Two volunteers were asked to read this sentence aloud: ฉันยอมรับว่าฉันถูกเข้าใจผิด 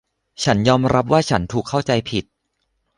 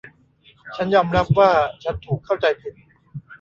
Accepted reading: first